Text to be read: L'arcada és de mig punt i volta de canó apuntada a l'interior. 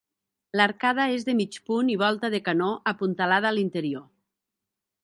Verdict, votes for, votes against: rejected, 1, 3